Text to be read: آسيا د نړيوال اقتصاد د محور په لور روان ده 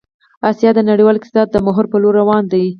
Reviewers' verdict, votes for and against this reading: accepted, 4, 2